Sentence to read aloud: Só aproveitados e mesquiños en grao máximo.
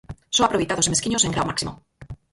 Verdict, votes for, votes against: rejected, 0, 4